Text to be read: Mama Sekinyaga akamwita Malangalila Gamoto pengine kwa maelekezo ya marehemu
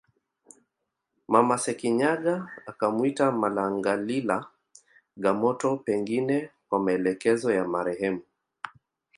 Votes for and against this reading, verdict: 3, 0, accepted